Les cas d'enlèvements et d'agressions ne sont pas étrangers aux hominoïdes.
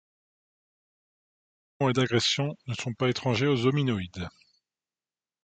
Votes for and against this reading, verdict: 1, 2, rejected